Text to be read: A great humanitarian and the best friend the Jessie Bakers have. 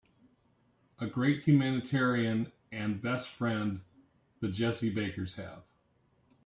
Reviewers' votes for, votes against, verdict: 2, 3, rejected